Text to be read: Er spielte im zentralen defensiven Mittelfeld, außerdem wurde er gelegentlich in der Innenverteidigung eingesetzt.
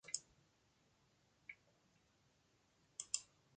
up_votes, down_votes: 0, 2